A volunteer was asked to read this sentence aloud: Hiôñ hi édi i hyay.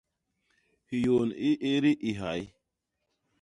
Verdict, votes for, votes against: rejected, 1, 2